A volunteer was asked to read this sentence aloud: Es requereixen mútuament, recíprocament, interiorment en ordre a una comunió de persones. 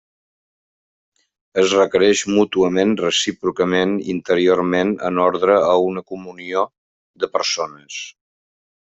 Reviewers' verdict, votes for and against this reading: rejected, 0, 2